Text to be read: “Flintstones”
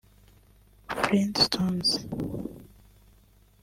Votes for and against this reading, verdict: 0, 2, rejected